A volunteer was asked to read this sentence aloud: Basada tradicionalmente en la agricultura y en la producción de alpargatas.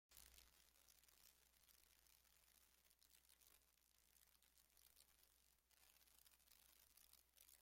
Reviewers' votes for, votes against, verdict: 0, 2, rejected